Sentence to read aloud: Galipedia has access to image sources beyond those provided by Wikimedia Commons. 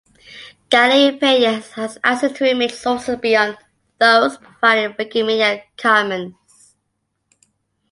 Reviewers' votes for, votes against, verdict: 0, 2, rejected